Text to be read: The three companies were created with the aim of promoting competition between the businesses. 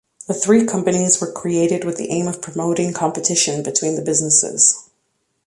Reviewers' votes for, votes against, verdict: 2, 0, accepted